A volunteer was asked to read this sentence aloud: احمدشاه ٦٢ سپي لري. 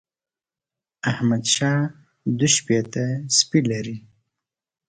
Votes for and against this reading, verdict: 0, 2, rejected